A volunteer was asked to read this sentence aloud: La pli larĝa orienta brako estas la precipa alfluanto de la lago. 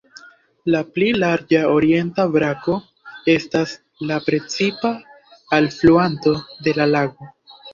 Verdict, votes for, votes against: accepted, 2, 0